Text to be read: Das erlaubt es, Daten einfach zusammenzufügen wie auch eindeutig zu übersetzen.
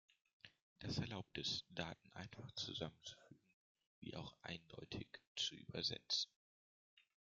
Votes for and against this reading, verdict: 2, 1, accepted